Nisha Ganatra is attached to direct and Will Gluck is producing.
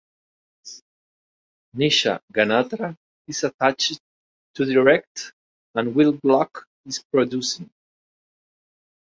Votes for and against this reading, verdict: 2, 0, accepted